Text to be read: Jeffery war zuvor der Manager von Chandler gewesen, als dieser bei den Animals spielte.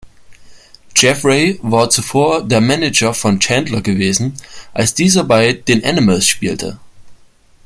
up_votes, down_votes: 2, 0